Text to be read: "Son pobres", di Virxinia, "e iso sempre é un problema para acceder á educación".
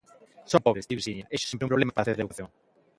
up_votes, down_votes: 0, 2